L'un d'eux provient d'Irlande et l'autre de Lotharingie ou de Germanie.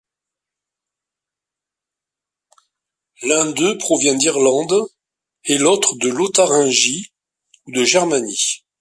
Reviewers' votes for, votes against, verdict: 2, 0, accepted